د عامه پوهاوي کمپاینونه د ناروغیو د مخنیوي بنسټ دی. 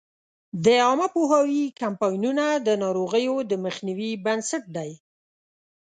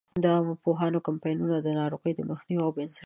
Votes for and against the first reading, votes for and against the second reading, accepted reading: 2, 0, 0, 2, first